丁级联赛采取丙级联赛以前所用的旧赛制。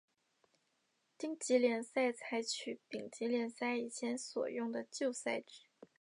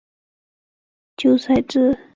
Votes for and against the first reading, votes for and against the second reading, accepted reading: 8, 0, 0, 2, first